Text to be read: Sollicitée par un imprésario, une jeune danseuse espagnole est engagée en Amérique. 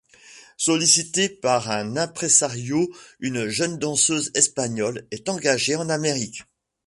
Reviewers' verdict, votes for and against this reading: rejected, 1, 2